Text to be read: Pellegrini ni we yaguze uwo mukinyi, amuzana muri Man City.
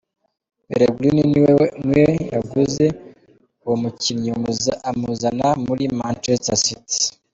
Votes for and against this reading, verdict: 1, 2, rejected